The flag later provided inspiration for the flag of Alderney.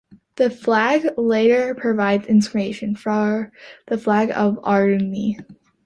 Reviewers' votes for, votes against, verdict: 1, 2, rejected